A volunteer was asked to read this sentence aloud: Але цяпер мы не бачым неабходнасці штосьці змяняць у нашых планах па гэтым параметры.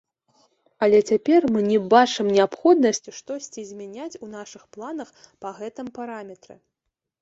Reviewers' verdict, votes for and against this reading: accepted, 2, 0